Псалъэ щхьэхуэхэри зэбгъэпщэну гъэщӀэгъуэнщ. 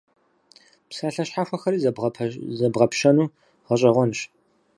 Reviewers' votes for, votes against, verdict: 0, 4, rejected